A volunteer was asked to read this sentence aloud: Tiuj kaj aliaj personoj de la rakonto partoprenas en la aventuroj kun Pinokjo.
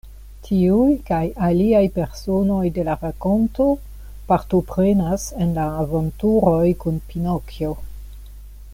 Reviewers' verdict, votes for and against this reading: rejected, 0, 2